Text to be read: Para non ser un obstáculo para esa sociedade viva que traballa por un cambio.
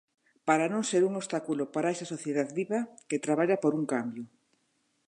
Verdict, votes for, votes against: rejected, 0, 2